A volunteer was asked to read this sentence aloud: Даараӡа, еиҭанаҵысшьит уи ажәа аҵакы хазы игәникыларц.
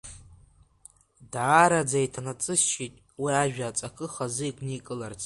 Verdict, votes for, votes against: rejected, 0, 2